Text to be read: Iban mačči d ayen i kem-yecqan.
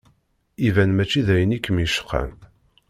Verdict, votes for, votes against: accepted, 2, 0